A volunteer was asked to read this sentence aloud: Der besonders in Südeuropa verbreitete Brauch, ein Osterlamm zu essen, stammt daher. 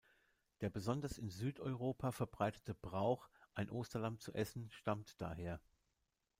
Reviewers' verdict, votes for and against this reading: rejected, 1, 2